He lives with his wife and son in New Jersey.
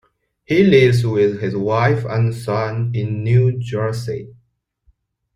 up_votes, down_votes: 2, 0